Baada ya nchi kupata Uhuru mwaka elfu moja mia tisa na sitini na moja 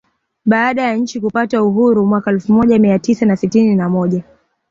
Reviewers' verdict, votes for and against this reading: accepted, 2, 0